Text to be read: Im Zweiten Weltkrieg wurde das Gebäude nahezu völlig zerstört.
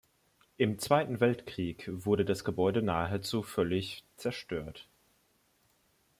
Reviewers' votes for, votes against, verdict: 2, 0, accepted